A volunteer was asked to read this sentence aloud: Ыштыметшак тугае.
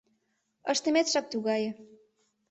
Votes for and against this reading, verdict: 2, 0, accepted